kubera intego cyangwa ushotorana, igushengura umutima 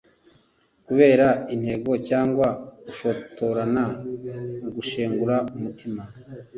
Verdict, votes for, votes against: accepted, 2, 0